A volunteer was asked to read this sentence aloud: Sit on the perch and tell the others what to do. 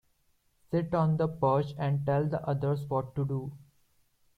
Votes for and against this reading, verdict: 5, 0, accepted